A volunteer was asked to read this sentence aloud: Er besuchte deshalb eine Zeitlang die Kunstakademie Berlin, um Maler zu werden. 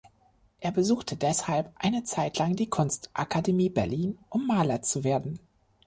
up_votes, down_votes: 2, 0